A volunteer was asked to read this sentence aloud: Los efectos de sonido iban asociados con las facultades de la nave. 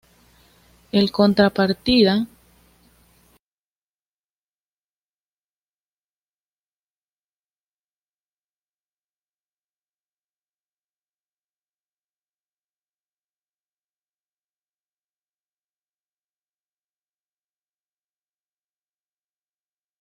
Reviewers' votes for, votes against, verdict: 1, 2, rejected